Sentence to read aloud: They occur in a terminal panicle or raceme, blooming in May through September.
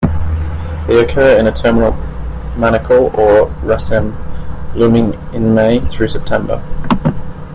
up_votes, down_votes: 0, 2